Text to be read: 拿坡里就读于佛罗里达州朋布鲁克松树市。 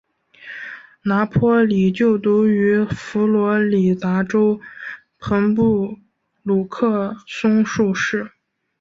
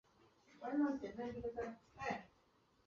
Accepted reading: first